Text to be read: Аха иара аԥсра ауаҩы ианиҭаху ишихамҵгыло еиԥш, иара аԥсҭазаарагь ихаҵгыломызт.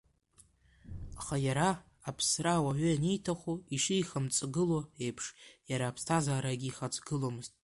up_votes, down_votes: 2, 1